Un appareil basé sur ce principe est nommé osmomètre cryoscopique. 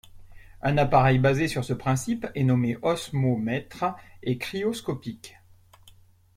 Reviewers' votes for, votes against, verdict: 0, 2, rejected